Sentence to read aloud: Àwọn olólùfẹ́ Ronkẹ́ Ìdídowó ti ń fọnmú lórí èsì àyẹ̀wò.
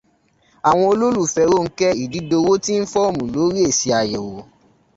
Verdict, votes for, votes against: rejected, 0, 2